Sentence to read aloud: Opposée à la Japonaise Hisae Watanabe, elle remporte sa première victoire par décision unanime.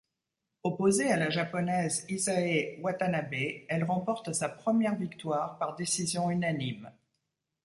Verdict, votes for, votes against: accepted, 2, 0